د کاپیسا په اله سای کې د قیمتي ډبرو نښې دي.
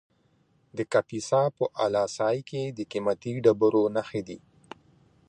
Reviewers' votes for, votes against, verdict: 2, 0, accepted